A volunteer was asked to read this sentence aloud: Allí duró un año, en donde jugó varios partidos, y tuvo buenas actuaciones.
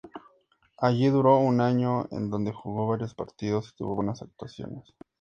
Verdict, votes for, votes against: accepted, 2, 0